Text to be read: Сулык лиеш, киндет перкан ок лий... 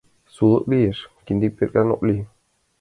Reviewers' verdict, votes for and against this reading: accepted, 2, 0